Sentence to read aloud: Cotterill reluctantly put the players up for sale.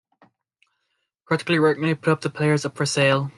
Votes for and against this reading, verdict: 1, 2, rejected